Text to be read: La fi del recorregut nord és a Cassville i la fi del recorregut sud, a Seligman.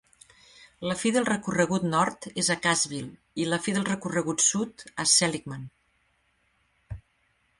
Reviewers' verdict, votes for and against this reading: accepted, 3, 1